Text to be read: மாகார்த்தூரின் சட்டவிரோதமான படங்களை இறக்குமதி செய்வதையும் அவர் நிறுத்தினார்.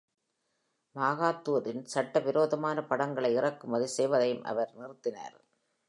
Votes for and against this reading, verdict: 1, 2, rejected